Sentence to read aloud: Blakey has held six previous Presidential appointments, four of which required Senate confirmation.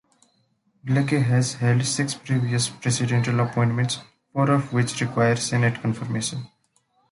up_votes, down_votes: 0, 2